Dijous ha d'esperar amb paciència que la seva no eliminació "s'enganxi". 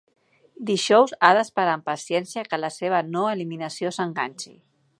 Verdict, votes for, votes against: accepted, 2, 0